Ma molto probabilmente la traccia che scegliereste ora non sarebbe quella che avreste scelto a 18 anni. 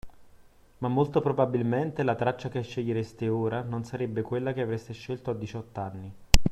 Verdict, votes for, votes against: rejected, 0, 2